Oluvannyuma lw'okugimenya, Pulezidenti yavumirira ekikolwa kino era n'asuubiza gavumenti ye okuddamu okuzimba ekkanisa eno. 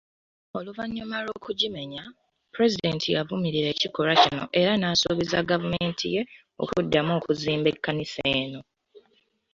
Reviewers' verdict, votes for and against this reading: rejected, 0, 2